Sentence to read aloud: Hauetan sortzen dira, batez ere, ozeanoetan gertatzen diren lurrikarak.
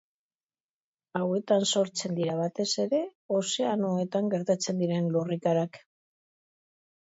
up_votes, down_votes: 2, 0